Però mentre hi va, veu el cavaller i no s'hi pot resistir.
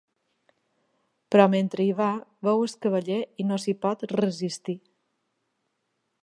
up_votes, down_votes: 2, 1